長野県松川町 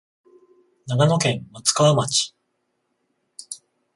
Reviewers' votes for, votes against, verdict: 21, 0, accepted